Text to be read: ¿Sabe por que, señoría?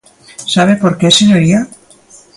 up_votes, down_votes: 3, 0